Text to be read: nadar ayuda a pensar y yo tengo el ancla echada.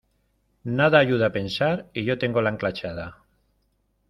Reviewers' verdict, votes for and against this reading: rejected, 0, 2